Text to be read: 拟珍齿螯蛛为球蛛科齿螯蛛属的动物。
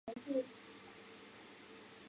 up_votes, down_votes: 0, 2